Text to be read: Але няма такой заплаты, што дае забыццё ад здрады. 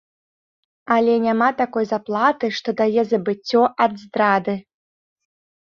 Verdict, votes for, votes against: accepted, 2, 0